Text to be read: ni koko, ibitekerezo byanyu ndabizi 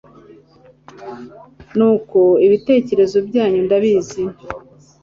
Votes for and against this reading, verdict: 1, 2, rejected